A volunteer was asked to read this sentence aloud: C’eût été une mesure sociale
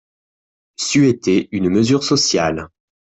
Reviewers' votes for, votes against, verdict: 0, 2, rejected